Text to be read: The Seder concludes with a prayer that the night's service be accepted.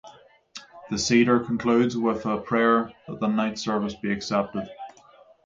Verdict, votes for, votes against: accepted, 6, 0